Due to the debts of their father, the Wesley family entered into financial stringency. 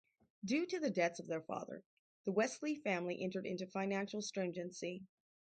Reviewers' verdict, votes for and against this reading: rejected, 0, 2